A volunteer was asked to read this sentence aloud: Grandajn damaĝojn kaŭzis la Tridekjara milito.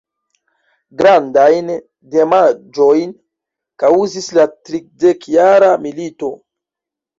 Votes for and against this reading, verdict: 0, 2, rejected